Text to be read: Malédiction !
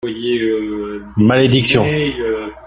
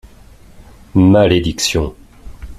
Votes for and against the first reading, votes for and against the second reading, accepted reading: 1, 2, 2, 0, second